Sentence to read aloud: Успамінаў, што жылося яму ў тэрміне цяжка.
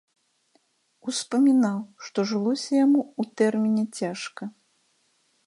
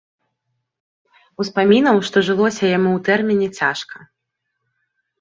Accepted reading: first